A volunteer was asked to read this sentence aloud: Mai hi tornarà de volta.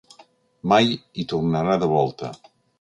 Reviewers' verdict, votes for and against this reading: accepted, 2, 0